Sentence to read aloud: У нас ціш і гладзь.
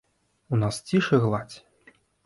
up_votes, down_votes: 2, 0